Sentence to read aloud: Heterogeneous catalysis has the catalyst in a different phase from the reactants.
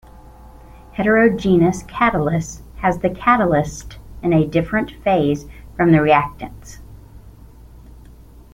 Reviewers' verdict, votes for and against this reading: rejected, 0, 2